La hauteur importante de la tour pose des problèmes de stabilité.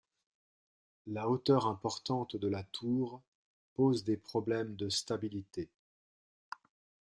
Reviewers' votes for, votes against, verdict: 2, 0, accepted